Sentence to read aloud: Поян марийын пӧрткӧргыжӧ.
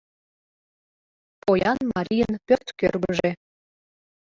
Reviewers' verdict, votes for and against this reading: accepted, 2, 0